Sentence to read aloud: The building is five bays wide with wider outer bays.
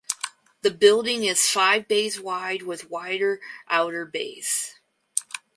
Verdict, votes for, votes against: accepted, 2, 0